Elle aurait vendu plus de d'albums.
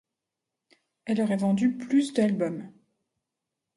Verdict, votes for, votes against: accepted, 2, 0